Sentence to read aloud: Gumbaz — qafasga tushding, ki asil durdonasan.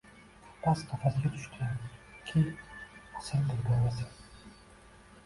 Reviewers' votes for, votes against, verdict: 2, 0, accepted